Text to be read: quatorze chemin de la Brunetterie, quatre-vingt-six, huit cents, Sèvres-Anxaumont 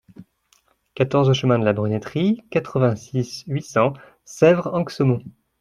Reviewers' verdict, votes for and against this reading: accepted, 2, 0